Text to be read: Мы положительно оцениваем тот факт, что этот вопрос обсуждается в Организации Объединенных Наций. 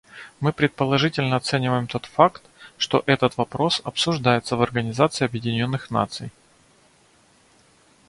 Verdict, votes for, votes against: rejected, 0, 2